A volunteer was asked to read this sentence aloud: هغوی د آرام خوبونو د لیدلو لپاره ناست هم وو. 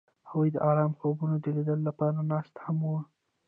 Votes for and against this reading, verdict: 1, 2, rejected